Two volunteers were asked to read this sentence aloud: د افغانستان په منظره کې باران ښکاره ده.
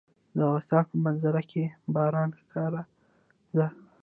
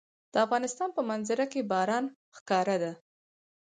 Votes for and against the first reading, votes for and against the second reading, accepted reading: 1, 2, 4, 0, second